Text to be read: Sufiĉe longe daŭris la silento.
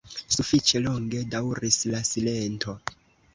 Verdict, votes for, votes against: rejected, 1, 2